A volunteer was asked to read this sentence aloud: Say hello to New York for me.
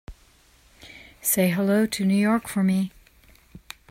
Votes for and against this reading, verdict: 2, 0, accepted